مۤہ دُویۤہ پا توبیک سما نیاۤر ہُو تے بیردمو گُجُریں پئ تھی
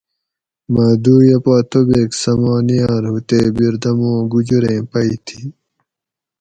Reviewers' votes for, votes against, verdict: 4, 0, accepted